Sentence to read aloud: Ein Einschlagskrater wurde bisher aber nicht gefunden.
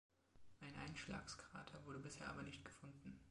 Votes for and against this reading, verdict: 2, 0, accepted